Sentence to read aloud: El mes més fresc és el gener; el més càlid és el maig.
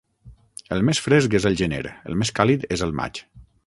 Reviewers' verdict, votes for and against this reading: rejected, 0, 6